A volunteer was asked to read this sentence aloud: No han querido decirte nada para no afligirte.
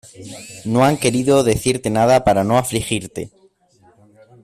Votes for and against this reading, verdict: 2, 0, accepted